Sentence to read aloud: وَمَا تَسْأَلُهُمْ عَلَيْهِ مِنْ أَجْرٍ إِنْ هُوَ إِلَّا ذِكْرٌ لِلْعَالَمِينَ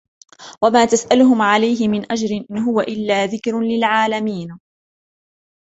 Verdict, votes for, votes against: accepted, 2, 0